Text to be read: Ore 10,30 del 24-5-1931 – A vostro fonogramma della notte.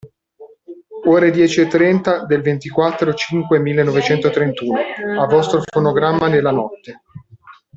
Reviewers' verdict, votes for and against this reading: rejected, 0, 2